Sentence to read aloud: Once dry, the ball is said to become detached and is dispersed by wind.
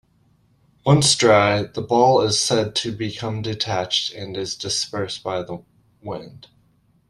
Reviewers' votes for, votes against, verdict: 2, 0, accepted